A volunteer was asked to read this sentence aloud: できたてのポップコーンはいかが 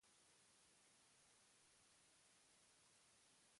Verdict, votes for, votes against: rejected, 0, 2